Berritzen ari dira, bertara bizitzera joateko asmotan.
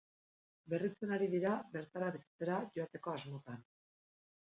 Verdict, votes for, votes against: accepted, 2, 0